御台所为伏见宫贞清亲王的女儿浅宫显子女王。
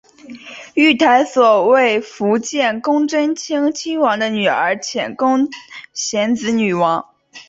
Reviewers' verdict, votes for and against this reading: accepted, 4, 2